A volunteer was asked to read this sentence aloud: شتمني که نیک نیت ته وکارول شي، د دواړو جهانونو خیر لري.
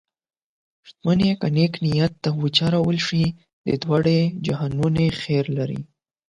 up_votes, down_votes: 0, 8